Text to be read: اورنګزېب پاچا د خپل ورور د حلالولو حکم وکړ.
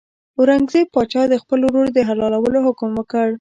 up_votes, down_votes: 2, 1